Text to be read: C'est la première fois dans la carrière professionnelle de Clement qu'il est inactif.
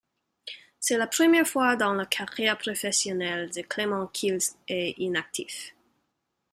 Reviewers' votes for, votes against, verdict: 3, 0, accepted